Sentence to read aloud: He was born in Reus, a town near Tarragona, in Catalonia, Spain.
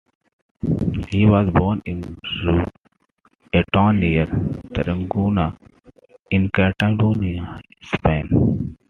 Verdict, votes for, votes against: accepted, 2, 0